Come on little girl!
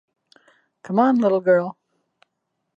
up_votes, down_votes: 2, 0